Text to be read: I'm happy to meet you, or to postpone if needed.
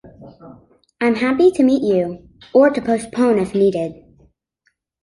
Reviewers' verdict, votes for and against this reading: accepted, 2, 0